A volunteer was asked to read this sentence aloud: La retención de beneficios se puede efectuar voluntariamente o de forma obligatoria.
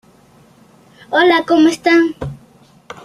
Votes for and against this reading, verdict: 0, 2, rejected